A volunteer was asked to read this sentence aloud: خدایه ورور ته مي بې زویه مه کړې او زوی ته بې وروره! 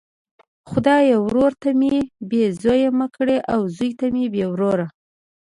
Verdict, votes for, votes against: accepted, 2, 0